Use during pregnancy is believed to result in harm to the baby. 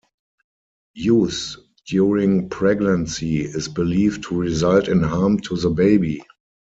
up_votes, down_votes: 4, 0